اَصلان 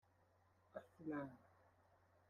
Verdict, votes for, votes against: rejected, 0, 2